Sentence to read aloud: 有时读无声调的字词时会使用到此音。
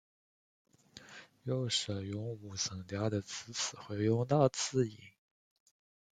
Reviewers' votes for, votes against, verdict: 1, 2, rejected